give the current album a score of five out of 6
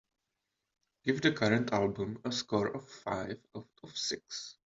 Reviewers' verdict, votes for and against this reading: rejected, 0, 2